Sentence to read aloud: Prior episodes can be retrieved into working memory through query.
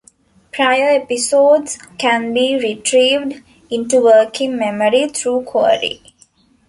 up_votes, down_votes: 2, 0